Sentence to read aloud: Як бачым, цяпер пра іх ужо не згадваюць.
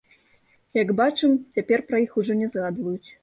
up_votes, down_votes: 1, 2